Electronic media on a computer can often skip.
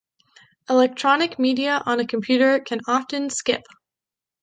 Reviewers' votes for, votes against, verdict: 2, 0, accepted